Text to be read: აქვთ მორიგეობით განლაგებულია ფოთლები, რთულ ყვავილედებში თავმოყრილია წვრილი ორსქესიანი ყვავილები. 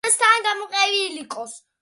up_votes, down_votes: 0, 2